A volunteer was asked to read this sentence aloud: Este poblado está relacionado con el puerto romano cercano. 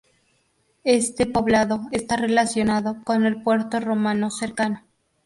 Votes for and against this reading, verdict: 0, 2, rejected